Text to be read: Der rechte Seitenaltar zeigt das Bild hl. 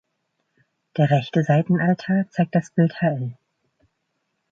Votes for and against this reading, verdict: 1, 2, rejected